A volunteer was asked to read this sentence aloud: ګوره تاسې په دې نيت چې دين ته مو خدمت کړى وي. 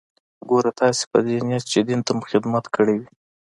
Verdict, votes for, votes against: accepted, 2, 0